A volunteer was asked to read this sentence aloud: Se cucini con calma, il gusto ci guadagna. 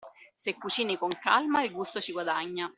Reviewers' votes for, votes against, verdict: 2, 0, accepted